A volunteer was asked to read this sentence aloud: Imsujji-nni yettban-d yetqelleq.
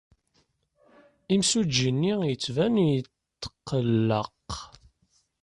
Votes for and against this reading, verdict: 0, 2, rejected